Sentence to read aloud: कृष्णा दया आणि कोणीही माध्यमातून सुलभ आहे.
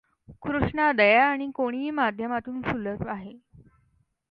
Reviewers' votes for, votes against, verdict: 2, 0, accepted